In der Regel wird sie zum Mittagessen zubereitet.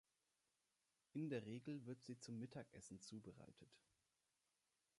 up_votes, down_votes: 3, 0